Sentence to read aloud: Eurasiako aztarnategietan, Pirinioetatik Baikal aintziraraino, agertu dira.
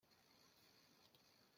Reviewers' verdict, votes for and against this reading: rejected, 0, 2